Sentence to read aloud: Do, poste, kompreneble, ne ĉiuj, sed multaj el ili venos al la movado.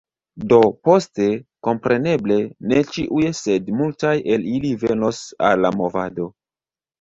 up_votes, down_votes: 2, 0